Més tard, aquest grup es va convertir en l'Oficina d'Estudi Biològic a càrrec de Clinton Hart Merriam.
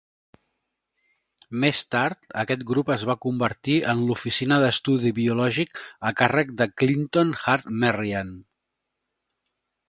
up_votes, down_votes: 3, 0